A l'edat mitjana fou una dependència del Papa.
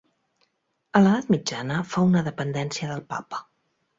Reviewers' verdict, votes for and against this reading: accepted, 3, 0